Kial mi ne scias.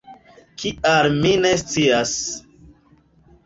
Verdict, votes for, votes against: accepted, 2, 1